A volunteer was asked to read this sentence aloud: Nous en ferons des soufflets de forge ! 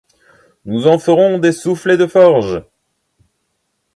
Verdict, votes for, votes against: rejected, 1, 2